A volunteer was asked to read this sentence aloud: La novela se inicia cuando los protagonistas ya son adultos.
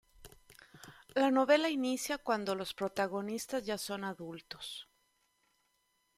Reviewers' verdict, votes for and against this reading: rejected, 1, 2